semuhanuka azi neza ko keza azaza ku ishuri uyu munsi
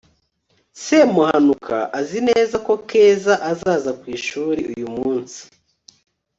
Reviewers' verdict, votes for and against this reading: accepted, 4, 0